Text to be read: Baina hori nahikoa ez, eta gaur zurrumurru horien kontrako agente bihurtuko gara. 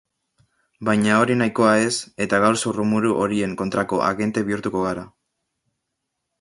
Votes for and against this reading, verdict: 1, 2, rejected